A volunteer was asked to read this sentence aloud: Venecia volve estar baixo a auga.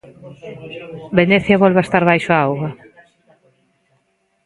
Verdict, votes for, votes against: rejected, 0, 2